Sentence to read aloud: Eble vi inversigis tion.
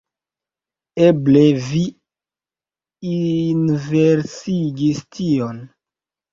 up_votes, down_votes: 0, 2